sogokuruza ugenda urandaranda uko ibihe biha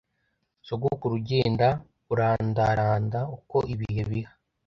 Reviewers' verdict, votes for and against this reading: rejected, 1, 2